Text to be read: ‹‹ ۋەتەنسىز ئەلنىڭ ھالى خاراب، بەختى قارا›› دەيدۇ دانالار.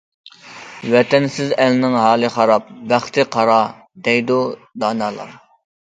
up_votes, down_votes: 2, 0